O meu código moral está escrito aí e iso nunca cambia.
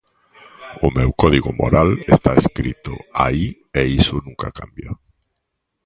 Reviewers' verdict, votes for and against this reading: accepted, 2, 0